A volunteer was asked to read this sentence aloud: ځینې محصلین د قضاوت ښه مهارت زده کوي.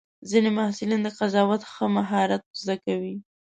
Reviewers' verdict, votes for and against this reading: accepted, 2, 0